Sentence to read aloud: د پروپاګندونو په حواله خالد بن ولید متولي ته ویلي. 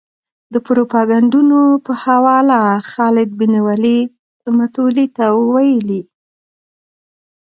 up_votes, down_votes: 0, 2